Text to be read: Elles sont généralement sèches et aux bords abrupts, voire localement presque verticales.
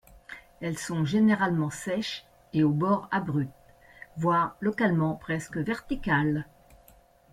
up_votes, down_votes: 0, 2